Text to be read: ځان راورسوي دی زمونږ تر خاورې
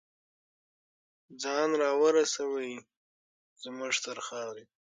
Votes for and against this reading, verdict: 6, 3, accepted